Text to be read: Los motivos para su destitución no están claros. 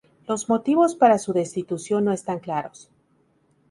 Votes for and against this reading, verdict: 4, 0, accepted